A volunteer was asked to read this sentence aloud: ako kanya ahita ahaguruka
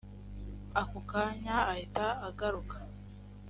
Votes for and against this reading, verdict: 3, 0, accepted